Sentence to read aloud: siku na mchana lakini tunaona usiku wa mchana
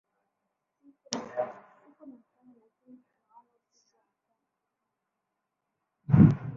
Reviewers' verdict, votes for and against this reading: rejected, 0, 2